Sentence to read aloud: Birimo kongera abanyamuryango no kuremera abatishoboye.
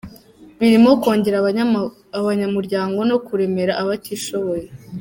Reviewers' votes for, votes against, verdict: 1, 2, rejected